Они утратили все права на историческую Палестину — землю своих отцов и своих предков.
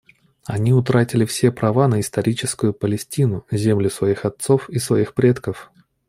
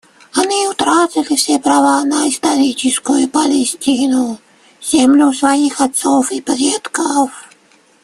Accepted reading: first